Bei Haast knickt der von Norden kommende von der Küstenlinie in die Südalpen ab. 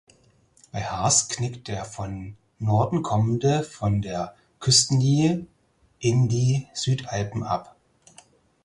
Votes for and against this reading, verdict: 4, 2, accepted